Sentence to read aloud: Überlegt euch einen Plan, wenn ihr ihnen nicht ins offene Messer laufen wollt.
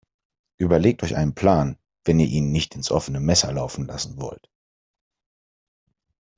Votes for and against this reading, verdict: 1, 2, rejected